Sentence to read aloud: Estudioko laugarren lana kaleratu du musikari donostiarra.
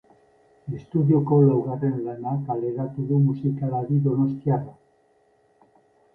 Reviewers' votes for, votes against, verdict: 0, 2, rejected